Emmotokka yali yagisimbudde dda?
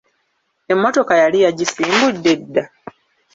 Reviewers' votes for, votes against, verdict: 2, 0, accepted